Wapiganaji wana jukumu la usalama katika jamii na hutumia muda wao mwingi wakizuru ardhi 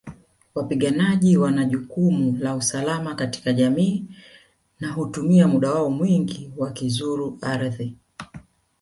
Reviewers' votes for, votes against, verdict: 2, 0, accepted